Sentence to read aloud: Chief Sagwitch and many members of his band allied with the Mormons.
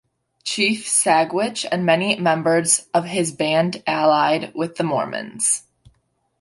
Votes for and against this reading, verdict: 2, 0, accepted